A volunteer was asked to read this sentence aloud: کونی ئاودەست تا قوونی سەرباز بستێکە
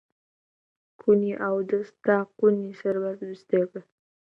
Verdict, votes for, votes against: accepted, 2, 0